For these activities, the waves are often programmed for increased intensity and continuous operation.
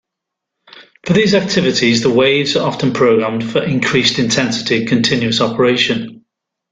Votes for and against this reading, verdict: 1, 2, rejected